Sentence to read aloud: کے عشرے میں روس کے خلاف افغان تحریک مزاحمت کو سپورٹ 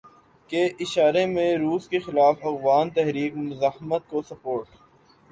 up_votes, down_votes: 2, 3